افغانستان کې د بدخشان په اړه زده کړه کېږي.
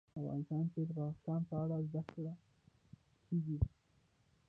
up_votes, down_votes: 2, 3